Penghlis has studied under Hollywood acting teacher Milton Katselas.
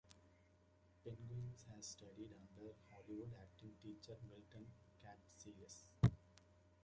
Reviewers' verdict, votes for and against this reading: rejected, 0, 2